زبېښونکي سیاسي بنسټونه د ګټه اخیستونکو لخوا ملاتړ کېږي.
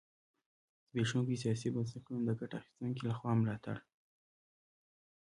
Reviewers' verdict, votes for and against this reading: rejected, 1, 3